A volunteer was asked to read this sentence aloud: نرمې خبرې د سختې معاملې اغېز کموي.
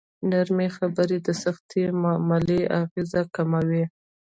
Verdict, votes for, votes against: accepted, 3, 0